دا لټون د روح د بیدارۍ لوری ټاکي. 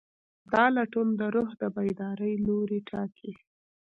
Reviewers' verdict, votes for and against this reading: rejected, 0, 2